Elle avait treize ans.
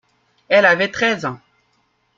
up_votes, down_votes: 2, 0